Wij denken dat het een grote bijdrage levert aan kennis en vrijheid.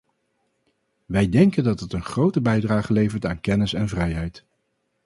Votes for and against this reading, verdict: 2, 0, accepted